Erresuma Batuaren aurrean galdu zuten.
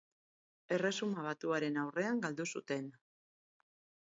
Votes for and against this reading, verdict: 2, 2, rejected